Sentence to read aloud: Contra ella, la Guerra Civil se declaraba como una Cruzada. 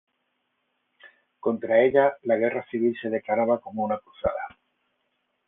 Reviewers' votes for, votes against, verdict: 0, 3, rejected